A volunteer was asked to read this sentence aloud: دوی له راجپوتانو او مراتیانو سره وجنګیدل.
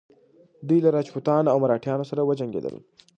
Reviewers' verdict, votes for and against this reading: accepted, 2, 0